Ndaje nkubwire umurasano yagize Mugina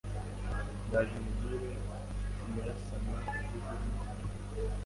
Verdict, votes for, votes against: rejected, 1, 2